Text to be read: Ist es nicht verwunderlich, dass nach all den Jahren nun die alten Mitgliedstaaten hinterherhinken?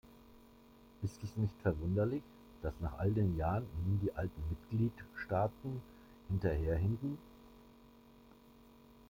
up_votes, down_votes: 1, 2